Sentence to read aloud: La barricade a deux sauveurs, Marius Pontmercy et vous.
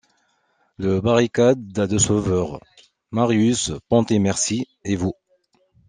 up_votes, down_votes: 0, 2